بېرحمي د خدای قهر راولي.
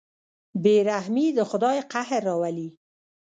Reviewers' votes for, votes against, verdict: 0, 2, rejected